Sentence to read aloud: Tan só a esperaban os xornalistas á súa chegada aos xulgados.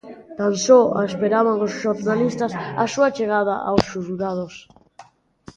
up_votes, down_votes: 1, 2